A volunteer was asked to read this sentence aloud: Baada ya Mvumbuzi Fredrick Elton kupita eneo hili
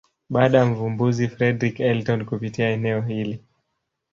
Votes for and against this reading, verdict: 1, 2, rejected